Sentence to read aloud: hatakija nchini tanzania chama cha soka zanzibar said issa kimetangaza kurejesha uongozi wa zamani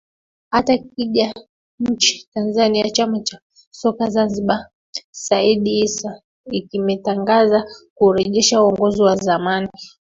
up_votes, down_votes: 0, 2